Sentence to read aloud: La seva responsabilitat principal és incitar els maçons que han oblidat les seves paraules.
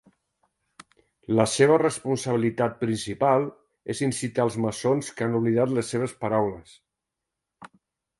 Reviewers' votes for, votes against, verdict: 2, 0, accepted